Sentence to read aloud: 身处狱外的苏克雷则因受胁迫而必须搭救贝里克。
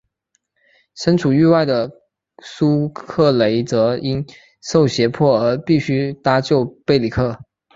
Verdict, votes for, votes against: accepted, 2, 1